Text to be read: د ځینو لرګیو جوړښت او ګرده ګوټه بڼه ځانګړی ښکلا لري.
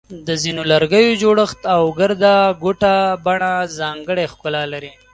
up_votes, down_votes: 2, 0